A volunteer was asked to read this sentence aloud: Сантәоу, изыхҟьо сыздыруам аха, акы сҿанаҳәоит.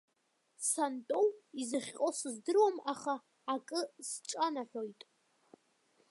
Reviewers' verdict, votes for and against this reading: rejected, 1, 3